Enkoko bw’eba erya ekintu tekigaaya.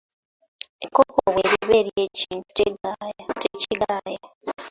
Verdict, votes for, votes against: accepted, 2, 0